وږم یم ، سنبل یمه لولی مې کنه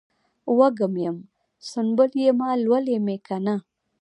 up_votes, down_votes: 1, 2